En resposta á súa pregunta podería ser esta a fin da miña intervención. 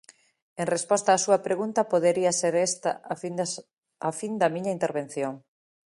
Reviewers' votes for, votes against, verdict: 0, 2, rejected